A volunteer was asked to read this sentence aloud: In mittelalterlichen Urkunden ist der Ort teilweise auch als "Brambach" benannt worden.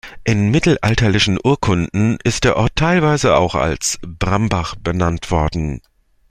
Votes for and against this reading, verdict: 2, 0, accepted